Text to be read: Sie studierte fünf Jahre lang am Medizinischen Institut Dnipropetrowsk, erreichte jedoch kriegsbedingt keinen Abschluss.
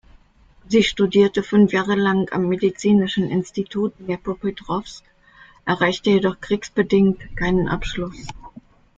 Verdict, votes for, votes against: accepted, 2, 0